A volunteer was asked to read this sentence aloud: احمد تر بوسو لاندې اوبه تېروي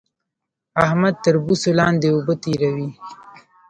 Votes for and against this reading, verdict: 1, 2, rejected